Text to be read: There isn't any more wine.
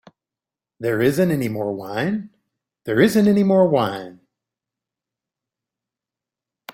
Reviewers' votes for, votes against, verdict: 0, 3, rejected